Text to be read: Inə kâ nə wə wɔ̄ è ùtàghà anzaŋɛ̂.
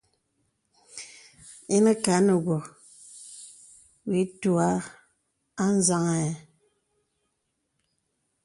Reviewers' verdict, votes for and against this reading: accepted, 2, 0